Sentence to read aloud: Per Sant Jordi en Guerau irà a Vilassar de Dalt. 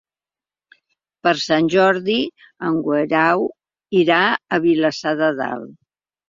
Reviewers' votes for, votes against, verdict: 4, 1, accepted